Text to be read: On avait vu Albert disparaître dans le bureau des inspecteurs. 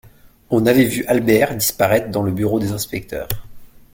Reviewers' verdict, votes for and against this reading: accepted, 2, 0